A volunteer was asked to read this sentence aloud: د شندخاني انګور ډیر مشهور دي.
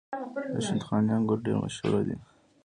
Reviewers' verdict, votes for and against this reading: accepted, 2, 0